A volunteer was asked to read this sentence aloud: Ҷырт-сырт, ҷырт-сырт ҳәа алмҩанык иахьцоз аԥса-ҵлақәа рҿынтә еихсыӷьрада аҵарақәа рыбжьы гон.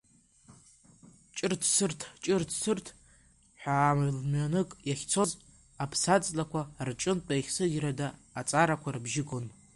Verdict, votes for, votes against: rejected, 1, 2